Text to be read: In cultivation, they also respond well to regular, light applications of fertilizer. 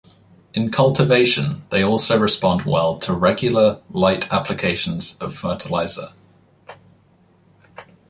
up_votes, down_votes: 2, 0